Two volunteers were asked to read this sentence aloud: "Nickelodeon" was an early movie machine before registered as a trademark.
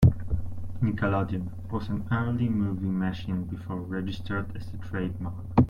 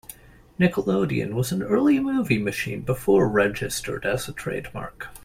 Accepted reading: second